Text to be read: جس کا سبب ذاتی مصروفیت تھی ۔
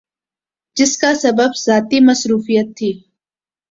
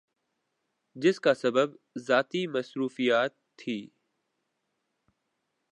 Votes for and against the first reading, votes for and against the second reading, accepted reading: 2, 0, 1, 2, first